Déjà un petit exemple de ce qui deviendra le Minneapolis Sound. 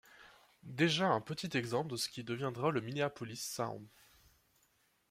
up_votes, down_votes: 2, 0